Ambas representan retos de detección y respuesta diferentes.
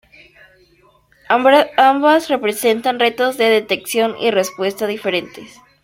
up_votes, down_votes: 0, 2